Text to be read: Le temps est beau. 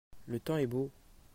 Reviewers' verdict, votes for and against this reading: accepted, 2, 0